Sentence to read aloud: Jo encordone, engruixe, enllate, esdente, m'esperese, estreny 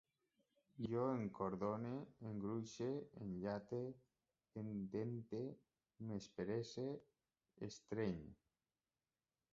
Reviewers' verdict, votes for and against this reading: rejected, 0, 2